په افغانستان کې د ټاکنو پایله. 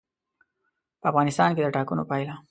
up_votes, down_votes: 2, 0